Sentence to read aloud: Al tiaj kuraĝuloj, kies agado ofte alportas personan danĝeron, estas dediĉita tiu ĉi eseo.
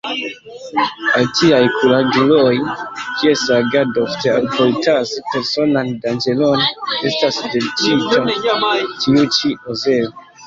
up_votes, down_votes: 0, 2